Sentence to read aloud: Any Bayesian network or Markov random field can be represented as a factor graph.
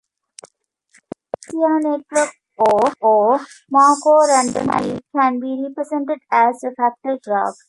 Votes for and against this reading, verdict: 0, 2, rejected